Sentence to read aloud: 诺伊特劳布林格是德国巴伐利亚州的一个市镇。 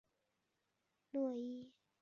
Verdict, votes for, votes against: rejected, 0, 2